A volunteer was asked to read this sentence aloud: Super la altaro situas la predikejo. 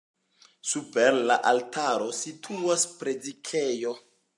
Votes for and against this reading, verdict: 0, 2, rejected